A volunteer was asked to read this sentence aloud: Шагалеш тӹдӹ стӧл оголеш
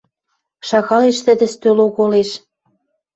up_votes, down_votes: 2, 0